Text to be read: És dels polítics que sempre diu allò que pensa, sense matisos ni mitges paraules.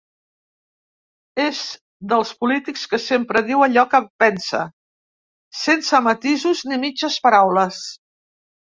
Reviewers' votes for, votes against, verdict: 2, 1, accepted